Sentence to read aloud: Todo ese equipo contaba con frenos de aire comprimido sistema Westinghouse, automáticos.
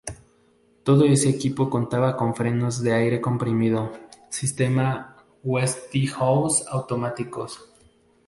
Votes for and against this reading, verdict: 0, 2, rejected